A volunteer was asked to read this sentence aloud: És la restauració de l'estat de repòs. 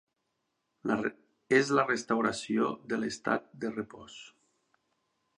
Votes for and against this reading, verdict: 3, 0, accepted